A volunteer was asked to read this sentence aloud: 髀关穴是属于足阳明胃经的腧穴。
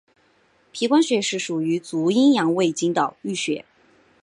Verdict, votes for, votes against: accepted, 2, 1